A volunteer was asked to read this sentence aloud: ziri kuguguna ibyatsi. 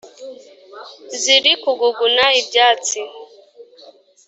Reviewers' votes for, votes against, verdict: 3, 0, accepted